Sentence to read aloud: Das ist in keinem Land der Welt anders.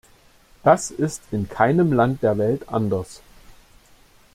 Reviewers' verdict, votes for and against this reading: accepted, 2, 0